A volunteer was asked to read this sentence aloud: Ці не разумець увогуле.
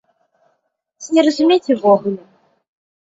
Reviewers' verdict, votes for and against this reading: rejected, 1, 2